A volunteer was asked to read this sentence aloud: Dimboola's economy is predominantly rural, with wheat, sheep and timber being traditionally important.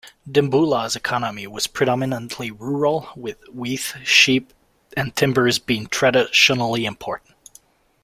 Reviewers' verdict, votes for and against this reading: rejected, 0, 2